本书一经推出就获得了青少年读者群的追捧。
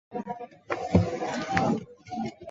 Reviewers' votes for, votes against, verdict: 0, 2, rejected